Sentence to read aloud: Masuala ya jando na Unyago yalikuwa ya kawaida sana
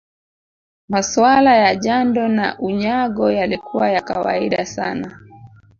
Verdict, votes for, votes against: rejected, 0, 2